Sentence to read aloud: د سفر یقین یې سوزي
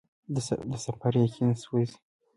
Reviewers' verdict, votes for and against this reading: accepted, 2, 0